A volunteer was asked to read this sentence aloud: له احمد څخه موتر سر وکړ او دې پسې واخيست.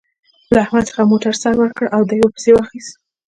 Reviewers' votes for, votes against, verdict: 1, 2, rejected